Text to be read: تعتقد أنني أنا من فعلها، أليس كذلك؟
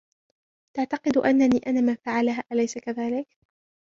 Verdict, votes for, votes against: rejected, 1, 2